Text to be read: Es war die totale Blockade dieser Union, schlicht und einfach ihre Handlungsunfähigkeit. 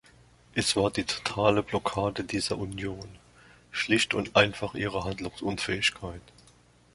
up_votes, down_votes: 2, 0